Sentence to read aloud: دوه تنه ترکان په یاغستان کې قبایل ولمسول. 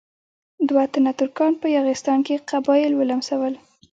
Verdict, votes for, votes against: accepted, 2, 1